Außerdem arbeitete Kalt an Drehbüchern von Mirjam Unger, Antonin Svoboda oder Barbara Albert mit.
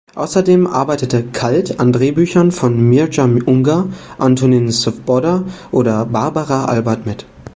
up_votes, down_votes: 1, 2